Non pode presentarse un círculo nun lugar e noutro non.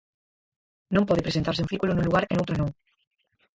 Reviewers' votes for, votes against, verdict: 0, 4, rejected